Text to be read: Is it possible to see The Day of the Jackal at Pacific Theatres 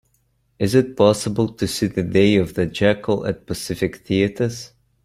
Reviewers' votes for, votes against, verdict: 2, 0, accepted